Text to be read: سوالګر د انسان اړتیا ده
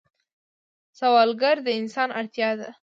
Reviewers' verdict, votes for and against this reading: accepted, 3, 1